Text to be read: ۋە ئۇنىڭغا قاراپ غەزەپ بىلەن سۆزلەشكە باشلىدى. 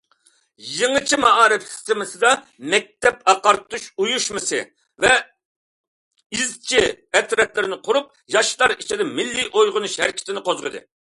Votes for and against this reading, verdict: 0, 2, rejected